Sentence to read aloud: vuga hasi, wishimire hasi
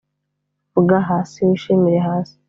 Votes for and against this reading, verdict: 2, 0, accepted